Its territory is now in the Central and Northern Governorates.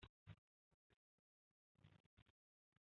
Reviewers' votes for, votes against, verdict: 0, 2, rejected